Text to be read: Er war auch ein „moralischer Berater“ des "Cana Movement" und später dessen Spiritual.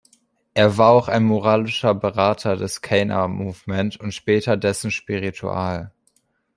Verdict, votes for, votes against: accepted, 2, 0